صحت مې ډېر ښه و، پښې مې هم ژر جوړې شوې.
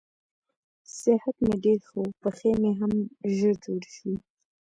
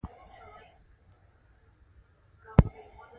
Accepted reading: first